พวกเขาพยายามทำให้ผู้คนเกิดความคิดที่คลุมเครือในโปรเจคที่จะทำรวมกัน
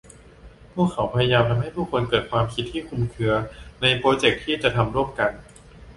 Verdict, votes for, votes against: rejected, 0, 2